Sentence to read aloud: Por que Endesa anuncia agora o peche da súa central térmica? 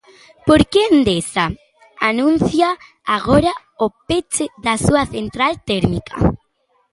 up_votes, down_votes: 2, 0